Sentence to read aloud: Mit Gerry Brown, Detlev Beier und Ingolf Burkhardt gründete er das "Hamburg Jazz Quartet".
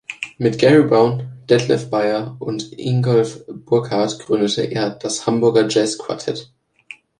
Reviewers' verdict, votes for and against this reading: rejected, 0, 2